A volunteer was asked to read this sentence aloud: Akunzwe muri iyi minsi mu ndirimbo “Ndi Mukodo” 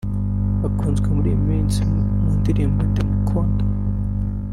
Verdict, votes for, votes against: rejected, 1, 2